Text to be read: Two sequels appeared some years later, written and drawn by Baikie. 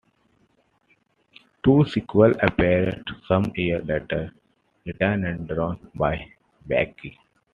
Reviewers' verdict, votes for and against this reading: accepted, 2, 1